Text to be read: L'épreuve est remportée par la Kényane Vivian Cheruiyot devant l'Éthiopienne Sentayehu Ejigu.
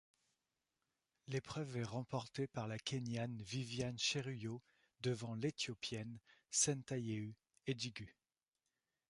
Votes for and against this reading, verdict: 2, 0, accepted